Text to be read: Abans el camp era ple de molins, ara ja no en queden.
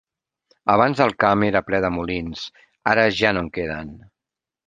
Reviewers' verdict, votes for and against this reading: accepted, 3, 0